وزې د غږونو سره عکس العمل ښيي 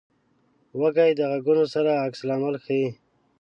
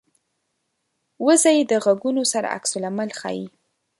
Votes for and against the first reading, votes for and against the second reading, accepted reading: 1, 2, 3, 0, second